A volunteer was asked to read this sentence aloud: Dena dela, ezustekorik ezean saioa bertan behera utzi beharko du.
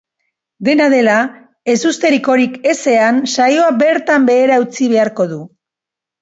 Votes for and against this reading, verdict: 1, 3, rejected